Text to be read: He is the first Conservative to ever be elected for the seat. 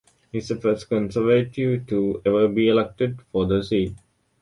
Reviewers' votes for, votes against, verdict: 1, 2, rejected